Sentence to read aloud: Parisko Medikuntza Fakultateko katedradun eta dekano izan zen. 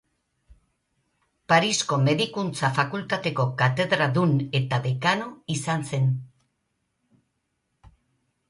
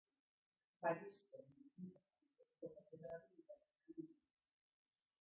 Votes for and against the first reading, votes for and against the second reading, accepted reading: 2, 0, 0, 2, first